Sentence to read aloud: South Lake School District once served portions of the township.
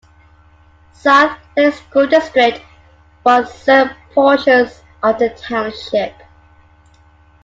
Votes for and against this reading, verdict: 2, 1, accepted